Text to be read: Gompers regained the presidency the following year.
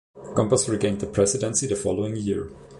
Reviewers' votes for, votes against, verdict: 2, 0, accepted